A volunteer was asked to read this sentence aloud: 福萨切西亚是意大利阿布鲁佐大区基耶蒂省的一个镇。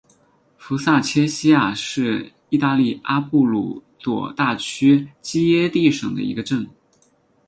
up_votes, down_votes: 6, 2